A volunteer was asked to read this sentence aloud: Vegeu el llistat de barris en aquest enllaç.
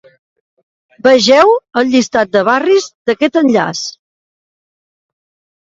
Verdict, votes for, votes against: rejected, 0, 2